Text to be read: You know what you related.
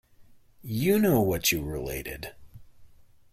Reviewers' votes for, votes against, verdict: 2, 0, accepted